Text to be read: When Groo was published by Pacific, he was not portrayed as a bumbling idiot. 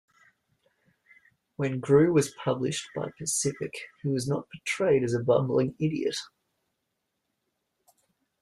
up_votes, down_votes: 1, 2